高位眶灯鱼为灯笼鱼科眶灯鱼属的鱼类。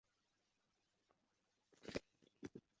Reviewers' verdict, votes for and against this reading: rejected, 0, 5